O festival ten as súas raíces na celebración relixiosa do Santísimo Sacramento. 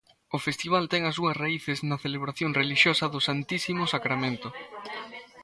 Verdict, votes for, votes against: rejected, 1, 2